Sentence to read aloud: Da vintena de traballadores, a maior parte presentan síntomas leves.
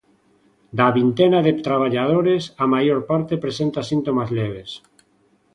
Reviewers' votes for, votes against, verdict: 1, 2, rejected